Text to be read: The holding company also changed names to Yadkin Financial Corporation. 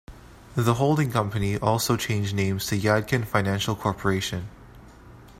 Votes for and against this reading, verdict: 1, 2, rejected